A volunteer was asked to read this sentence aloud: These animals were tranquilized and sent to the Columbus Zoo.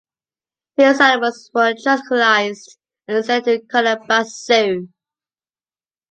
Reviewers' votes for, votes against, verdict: 1, 2, rejected